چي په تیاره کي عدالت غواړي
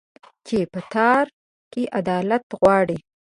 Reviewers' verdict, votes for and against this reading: rejected, 0, 4